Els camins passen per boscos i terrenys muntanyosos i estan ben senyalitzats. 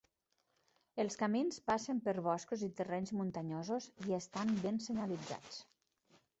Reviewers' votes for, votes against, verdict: 2, 0, accepted